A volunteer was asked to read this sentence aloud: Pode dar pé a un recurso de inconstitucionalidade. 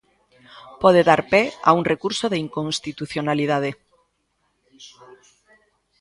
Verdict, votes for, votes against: accepted, 3, 0